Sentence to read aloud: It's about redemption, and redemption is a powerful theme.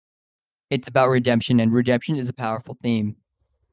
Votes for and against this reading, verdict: 2, 0, accepted